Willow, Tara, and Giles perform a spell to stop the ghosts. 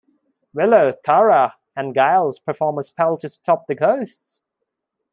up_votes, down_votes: 1, 2